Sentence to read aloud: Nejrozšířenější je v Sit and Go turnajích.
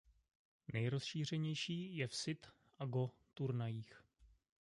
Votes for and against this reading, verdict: 0, 2, rejected